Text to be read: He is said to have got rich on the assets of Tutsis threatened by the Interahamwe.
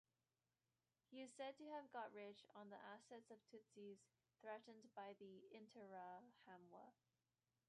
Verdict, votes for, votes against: rejected, 0, 2